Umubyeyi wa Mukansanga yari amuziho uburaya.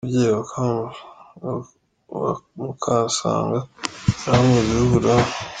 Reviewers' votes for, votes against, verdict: 0, 2, rejected